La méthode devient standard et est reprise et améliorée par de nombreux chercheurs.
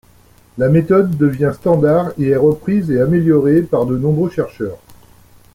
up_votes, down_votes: 2, 0